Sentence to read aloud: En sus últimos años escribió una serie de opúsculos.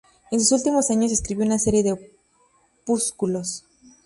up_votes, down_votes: 2, 4